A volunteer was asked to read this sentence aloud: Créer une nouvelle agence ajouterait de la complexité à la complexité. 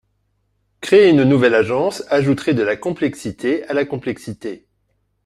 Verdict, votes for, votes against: accepted, 4, 0